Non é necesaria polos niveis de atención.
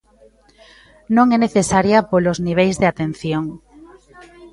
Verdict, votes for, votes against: rejected, 1, 2